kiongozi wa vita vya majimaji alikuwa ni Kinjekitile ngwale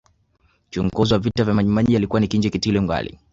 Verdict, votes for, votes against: rejected, 0, 2